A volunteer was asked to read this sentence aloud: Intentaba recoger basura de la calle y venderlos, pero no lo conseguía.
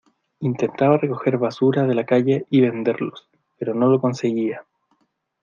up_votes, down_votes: 2, 0